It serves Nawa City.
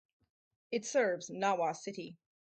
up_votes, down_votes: 4, 0